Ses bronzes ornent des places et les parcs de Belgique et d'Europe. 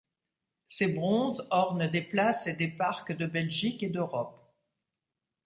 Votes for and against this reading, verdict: 1, 2, rejected